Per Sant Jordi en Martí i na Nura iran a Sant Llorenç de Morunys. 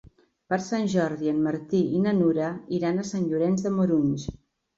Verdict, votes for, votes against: accepted, 2, 0